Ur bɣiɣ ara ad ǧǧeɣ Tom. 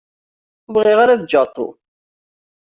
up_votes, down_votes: 0, 2